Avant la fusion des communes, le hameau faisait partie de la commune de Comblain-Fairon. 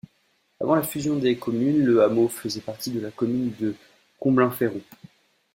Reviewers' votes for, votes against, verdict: 2, 0, accepted